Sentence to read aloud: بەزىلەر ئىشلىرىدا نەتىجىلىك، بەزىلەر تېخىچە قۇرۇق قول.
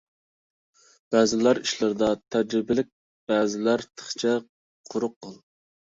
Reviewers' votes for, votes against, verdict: 0, 2, rejected